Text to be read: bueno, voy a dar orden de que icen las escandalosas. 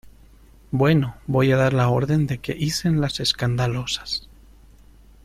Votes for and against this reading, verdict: 1, 2, rejected